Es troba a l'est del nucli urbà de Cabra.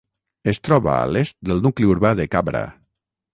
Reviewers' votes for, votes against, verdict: 0, 3, rejected